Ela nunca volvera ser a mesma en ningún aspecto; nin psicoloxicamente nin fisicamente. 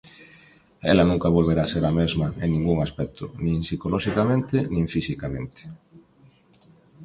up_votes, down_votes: 2, 0